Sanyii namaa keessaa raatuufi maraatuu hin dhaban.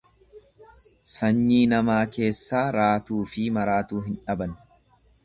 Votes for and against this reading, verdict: 2, 0, accepted